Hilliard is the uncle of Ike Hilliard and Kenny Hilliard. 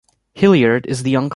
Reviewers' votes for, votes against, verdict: 0, 2, rejected